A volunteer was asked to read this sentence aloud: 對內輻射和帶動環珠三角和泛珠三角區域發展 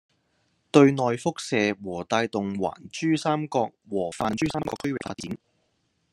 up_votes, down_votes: 0, 2